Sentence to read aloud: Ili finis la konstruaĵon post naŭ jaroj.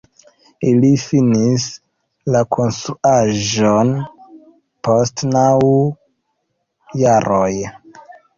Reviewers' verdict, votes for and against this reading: rejected, 0, 2